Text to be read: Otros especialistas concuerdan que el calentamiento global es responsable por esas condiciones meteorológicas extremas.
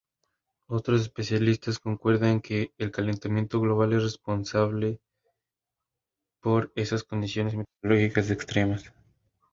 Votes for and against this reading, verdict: 0, 2, rejected